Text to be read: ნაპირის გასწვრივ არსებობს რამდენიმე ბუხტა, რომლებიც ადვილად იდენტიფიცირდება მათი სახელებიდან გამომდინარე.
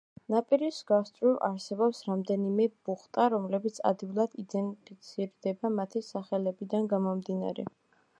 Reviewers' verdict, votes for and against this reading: accepted, 2, 0